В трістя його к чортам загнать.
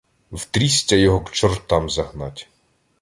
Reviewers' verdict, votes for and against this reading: accepted, 2, 0